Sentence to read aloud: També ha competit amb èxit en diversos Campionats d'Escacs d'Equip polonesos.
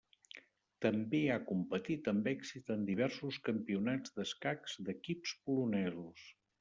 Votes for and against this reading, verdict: 0, 2, rejected